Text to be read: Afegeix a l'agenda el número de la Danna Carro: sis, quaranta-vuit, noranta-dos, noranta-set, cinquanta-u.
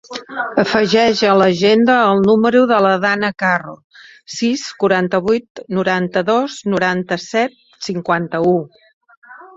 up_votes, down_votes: 3, 0